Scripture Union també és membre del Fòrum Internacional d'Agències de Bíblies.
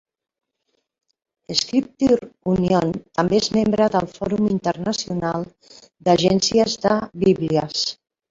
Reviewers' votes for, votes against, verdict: 0, 2, rejected